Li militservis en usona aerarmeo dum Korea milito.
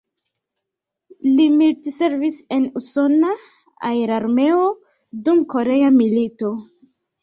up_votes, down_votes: 1, 2